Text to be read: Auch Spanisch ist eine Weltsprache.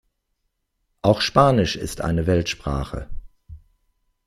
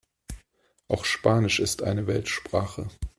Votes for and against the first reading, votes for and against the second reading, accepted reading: 2, 0, 1, 2, first